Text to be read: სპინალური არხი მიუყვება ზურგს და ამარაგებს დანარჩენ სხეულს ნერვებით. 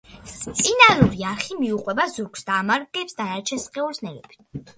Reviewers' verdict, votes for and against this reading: accepted, 2, 1